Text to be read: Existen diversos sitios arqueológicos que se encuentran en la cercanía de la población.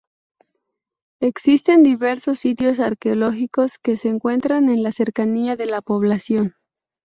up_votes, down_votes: 0, 2